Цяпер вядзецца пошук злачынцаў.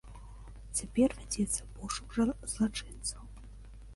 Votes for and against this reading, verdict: 0, 2, rejected